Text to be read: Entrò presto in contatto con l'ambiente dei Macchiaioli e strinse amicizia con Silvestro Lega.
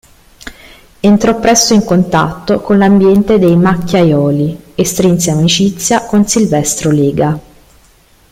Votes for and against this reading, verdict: 2, 0, accepted